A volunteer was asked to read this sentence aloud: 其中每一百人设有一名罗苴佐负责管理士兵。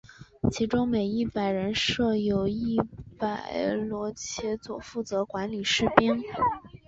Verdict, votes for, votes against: rejected, 3, 5